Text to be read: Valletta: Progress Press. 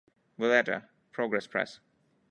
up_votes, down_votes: 2, 0